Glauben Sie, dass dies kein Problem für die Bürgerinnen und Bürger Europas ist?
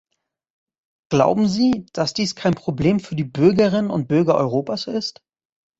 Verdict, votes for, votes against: accepted, 2, 0